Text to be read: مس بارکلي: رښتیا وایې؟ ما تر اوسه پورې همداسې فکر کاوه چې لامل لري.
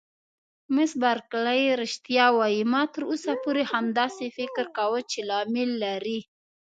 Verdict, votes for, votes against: accepted, 2, 0